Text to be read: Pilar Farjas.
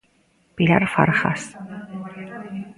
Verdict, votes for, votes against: accepted, 2, 0